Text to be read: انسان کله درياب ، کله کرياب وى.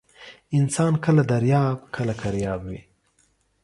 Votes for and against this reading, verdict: 2, 0, accepted